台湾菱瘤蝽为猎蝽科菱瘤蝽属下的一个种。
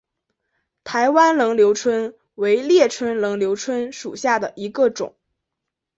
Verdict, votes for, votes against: accepted, 3, 0